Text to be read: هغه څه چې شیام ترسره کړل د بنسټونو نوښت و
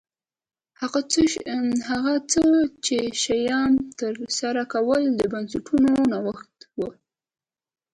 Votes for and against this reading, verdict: 1, 2, rejected